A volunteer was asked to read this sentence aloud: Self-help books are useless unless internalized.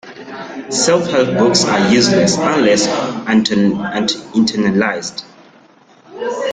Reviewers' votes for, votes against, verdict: 0, 2, rejected